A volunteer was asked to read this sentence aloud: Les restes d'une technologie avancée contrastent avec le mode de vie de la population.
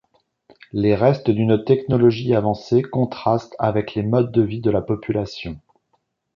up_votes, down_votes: 1, 2